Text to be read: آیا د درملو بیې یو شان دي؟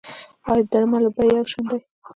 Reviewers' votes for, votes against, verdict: 0, 2, rejected